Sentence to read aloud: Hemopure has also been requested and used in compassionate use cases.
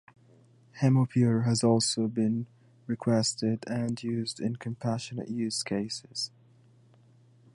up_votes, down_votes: 2, 0